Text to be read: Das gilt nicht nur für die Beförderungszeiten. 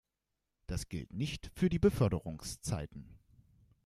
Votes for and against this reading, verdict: 0, 2, rejected